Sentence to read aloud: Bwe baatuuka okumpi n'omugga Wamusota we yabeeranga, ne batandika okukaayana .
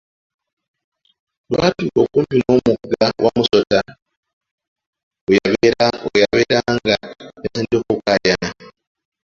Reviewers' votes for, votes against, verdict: 0, 2, rejected